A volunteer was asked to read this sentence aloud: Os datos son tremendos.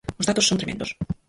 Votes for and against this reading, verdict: 0, 4, rejected